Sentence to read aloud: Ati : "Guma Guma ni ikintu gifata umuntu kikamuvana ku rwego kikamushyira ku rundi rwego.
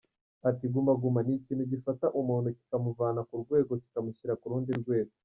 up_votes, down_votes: 0, 2